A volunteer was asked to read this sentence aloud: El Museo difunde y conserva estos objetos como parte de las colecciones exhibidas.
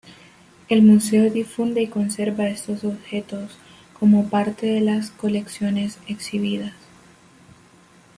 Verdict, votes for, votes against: accepted, 2, 0